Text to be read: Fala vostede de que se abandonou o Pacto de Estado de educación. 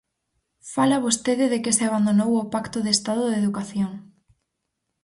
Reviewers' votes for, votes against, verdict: 4, 0, accepted